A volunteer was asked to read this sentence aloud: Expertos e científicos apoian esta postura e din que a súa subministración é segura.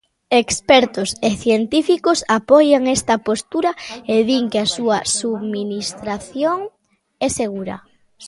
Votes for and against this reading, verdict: 20, 1, accepted